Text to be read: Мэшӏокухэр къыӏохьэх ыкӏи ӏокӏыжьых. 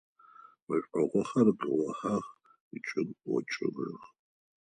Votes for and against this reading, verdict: 2, 4, rejected